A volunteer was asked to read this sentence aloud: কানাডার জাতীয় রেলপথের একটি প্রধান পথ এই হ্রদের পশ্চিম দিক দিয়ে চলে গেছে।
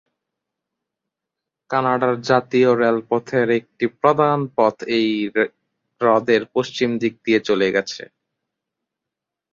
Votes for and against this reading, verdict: 0, 2, rejected